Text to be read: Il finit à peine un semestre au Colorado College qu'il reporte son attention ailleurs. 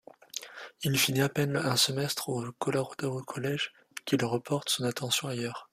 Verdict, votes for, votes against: rejected, 1, 2